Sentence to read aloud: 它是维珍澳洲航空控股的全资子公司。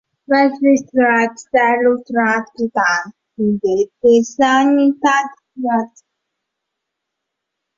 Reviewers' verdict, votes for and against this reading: rejected, 3, 4